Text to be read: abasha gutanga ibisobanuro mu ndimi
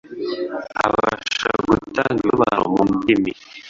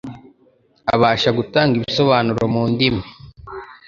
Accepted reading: second